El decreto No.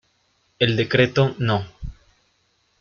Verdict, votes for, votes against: rejected, 1, 2